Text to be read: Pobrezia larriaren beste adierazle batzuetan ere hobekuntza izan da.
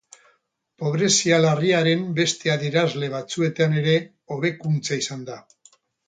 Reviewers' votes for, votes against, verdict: 2, 2, rejected